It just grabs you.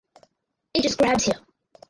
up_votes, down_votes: 0, 4